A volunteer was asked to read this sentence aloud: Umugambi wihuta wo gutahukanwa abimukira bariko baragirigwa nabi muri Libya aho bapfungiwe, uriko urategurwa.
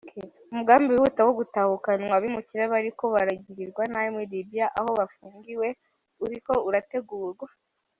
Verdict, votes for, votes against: accepted, 2, 0